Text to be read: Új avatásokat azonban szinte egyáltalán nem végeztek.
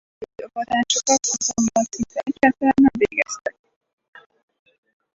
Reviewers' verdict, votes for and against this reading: rejected, 0, 4